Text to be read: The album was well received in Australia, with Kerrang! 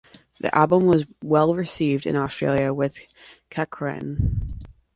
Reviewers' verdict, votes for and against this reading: rejected, 1, 2